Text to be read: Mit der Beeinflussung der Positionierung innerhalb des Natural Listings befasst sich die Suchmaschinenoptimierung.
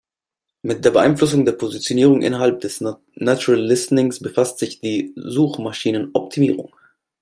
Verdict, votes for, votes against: rejected, 1, 2